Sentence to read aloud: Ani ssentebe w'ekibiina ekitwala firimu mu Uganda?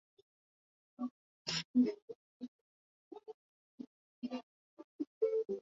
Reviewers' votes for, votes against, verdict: 0, 3, rejected